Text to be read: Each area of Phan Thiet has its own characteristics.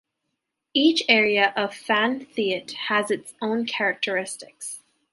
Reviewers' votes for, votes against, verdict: 2, 0, accepted